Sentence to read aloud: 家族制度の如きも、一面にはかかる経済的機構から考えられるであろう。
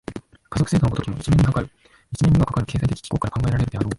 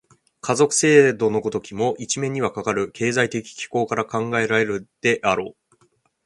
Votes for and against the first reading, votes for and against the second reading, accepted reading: 1, 2, 3, 0, second